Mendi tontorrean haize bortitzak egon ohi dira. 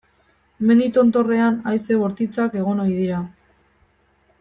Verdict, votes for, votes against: accepted, 2, 0